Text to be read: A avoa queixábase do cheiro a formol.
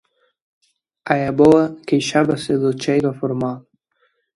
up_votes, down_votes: 2, 1